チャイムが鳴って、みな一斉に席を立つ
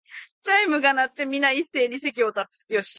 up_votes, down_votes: 0, 3